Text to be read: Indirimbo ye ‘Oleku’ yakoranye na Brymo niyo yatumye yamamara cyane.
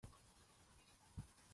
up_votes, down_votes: 0, 2